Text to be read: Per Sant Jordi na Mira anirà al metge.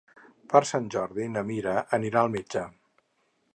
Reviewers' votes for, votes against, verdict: 4, 0, accepted